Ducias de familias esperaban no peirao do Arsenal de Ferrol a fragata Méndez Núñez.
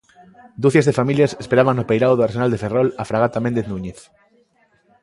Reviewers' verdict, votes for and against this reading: accepted, 2, 0